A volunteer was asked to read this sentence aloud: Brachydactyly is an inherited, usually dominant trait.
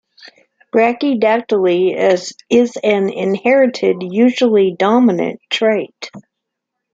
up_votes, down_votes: 1, 2